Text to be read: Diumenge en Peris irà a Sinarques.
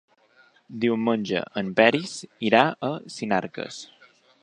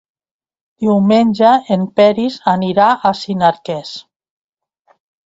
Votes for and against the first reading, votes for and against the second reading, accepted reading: 3, 0, 0, 2, first